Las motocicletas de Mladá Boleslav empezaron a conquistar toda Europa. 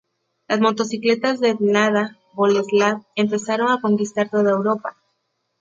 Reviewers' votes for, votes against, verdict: 2, 0, accepted